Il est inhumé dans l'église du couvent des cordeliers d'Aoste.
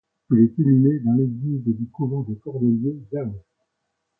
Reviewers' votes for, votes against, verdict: 0, 2, rejected